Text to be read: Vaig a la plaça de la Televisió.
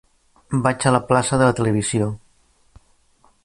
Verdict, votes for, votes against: rejected, 1, 2